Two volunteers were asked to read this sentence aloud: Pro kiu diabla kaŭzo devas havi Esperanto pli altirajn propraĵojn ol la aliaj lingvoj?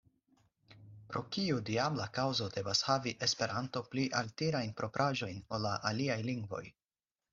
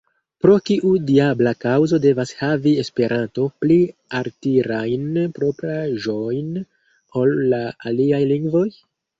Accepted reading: first